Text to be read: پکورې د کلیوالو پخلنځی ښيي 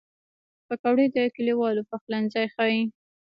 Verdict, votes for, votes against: rejected, 1, 2